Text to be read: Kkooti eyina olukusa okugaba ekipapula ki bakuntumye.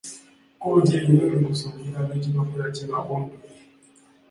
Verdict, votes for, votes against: rejected, 0, 2